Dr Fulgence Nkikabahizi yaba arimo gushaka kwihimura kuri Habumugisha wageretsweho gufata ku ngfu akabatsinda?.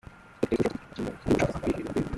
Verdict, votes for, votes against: rejected, 0, 2